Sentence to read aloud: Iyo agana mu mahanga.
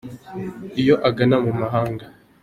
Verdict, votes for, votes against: accepted, 2, 0